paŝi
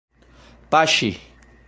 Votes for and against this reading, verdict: 1, 2, rejected